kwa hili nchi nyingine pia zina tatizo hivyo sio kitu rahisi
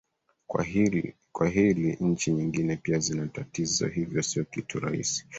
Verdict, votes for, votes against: accepted, 2, 1